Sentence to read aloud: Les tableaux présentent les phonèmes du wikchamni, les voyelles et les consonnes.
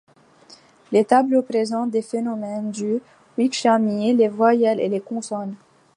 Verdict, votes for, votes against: rejected, 0, 2